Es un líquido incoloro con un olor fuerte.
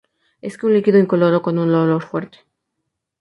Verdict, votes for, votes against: rejected, 0, 2